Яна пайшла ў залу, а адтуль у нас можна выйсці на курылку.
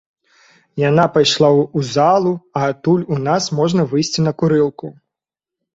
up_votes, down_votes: 2, 0